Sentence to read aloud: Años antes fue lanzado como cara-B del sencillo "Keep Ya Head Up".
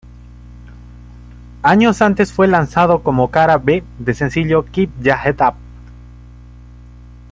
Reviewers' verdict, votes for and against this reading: accepted, 2, 0